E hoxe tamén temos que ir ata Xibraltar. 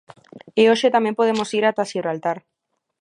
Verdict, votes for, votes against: rejected, 1, 2